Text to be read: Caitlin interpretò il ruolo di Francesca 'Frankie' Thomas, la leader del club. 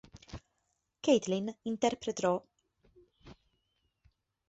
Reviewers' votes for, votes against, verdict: 0, 2, rejected